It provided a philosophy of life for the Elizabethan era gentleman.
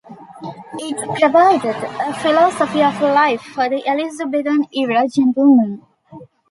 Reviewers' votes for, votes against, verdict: 2, 1, accepted